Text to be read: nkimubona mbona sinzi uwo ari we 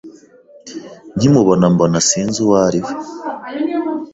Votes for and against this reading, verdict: 2, 1, accepted